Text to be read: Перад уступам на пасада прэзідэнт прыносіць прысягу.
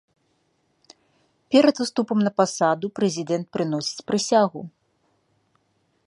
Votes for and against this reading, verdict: 2, 0, accepted